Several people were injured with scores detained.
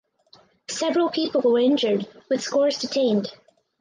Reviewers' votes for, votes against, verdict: 4, 0, accepted